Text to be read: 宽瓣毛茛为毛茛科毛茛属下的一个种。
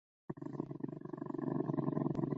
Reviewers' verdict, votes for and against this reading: rejected, 3, 4